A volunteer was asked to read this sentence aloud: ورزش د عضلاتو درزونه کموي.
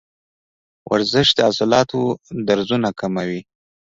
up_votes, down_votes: 1, 2